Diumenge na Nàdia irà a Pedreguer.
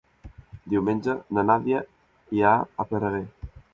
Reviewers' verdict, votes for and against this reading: rejected, 1, 2